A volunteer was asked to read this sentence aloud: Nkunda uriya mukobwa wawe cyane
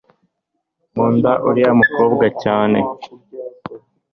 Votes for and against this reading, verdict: 1, 2, rejected